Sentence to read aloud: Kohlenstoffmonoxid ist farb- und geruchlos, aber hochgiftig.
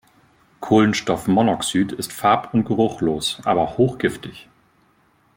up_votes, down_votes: 2, 0